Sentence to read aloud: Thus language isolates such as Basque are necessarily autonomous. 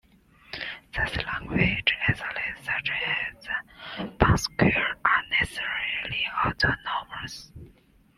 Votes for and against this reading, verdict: 1, 2, rejected